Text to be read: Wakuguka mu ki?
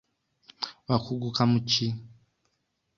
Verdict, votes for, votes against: accepted, 2, 0